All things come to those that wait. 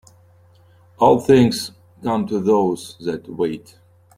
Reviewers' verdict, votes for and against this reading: accepted, 2, 1